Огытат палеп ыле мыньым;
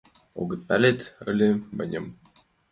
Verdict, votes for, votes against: accepted, 2, 0